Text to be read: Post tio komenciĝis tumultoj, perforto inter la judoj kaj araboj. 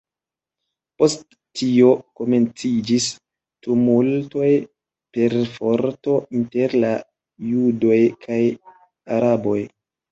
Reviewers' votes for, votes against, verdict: 2, 3, rejected